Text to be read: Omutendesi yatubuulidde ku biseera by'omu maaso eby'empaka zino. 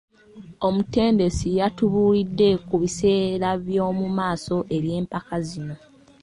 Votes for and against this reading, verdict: 2, 0, accepted